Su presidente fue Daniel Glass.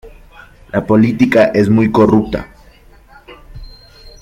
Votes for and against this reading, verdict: 0, 2, rejected